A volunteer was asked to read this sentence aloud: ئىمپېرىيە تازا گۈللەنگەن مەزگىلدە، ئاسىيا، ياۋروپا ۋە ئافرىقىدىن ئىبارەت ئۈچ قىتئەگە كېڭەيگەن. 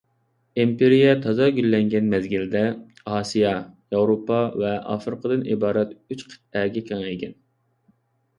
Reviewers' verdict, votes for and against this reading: accepted, 2, 0